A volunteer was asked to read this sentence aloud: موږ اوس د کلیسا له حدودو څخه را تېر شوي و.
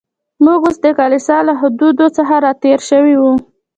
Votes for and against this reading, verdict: 2, 1, accepted